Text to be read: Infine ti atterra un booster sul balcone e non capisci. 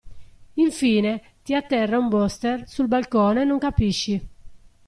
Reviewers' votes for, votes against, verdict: 0, 2, rejected